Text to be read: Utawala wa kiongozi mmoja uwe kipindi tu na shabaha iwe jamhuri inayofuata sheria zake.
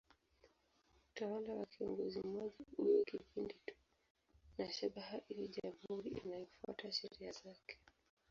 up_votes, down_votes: 0, 2